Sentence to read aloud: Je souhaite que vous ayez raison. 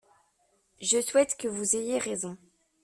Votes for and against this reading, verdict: 2, 0, accepted